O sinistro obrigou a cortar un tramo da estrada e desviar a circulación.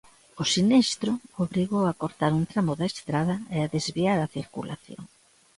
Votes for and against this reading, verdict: 0, 3, rejected